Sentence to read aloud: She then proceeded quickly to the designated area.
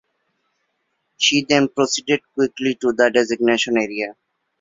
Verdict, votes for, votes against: rejected, 1, 2